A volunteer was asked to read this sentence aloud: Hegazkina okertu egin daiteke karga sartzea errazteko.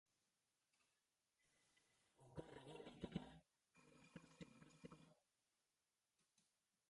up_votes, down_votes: 0, 2